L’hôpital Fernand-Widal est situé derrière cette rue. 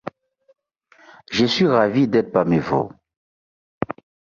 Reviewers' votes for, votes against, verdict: 0, 2, rejected